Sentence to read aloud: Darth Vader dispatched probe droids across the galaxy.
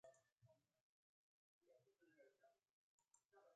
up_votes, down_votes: 0, 4